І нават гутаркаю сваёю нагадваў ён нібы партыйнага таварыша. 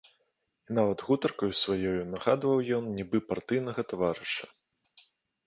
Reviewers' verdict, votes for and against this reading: accepted, 2, 1